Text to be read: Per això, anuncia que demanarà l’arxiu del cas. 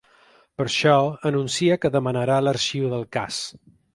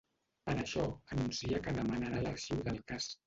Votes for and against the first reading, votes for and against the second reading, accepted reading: 4, 0, 0, 2, first